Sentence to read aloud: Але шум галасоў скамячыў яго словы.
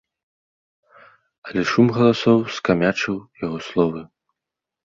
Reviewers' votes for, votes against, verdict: 2, 0, accepted